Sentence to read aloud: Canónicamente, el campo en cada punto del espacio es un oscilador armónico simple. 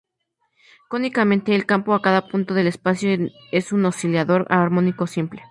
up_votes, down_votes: 0, 4